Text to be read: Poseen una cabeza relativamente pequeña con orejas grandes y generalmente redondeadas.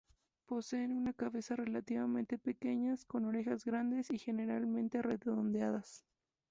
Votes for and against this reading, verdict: 2, 0, accepted